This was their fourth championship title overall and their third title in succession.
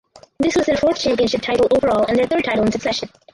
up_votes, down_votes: 0, 4